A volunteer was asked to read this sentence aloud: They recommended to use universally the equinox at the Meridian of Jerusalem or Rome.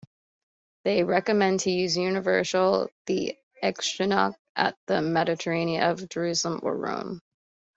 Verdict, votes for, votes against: rejected, 0, 2